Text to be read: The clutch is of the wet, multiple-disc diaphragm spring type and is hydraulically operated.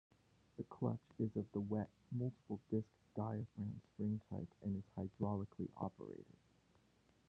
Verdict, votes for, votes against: accepted, 2, 0